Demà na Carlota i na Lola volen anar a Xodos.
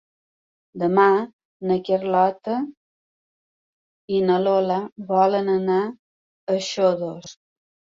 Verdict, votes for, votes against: accepted, 2, 0